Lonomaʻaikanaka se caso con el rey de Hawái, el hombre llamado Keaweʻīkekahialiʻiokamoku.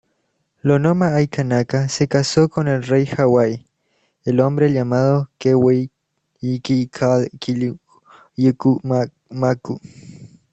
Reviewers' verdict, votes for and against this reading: rejected, 0, 2